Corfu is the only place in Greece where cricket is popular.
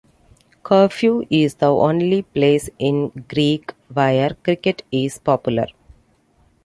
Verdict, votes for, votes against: rejected, 1, 2